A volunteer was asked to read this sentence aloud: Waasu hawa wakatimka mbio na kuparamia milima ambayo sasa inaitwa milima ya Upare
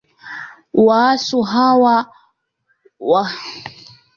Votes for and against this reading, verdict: 1, 2, rejected